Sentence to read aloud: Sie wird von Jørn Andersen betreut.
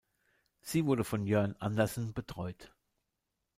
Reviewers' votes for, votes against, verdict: 2, 1, accepted